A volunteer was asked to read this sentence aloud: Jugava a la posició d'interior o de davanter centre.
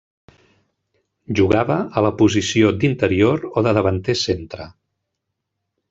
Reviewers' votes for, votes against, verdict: 4, 0, accepted